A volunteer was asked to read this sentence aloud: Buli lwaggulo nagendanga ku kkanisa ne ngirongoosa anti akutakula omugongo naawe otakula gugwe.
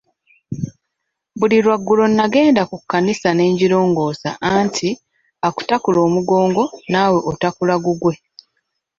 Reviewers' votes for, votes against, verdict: 1, 2, rejected